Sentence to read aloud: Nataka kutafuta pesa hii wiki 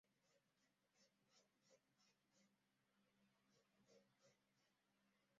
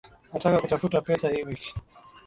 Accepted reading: second